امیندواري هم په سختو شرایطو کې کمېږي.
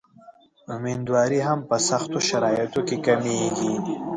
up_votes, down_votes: 1, 2